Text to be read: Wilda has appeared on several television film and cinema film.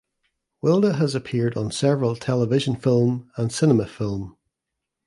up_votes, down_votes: 2, 0